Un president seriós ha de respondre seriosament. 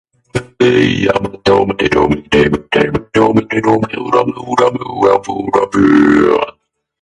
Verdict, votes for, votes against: rejected, 0, 2